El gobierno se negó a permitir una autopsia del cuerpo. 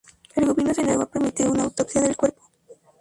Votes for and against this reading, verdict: 0, 2, rejected